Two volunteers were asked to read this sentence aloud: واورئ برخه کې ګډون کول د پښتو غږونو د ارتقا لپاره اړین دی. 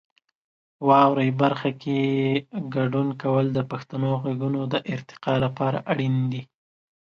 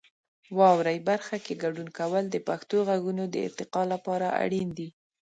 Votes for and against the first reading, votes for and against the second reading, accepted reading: 1, 2, 4, 0, second